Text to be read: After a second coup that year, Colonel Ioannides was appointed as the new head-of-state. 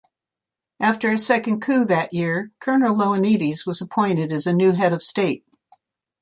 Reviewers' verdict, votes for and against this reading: accepted, 2, 0